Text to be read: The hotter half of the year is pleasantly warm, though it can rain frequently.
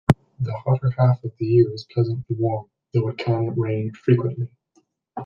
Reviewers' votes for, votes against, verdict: 1, 2, rejected